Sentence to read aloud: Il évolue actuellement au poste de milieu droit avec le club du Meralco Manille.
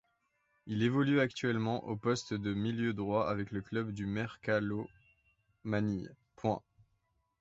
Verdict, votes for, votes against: rejected, 0, 2